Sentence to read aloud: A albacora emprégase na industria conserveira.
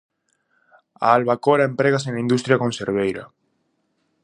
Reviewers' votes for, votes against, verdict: 4, 0, accepted